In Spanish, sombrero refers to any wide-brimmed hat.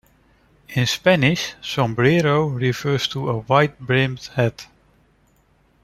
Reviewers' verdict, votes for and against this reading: rejected, 1, 2